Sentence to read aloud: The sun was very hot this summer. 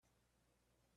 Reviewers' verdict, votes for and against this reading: rejected, 0, 2